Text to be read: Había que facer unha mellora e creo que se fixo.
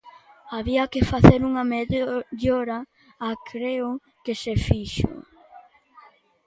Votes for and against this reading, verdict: 0, 2, rejected